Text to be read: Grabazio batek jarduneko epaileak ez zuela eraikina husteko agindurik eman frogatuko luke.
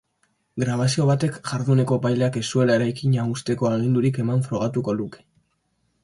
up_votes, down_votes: 2, 0